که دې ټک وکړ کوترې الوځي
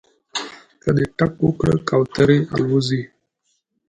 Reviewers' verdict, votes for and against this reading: accepted, 2, 0